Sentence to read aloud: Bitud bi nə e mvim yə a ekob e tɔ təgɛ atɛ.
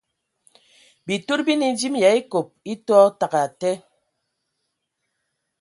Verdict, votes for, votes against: accepted, 2, 1